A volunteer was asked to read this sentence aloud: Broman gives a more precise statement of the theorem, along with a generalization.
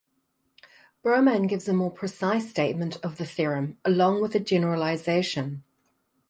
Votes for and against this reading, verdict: 2, 0, accepted